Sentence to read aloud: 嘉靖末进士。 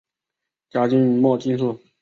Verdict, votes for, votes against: rejected, 1, 2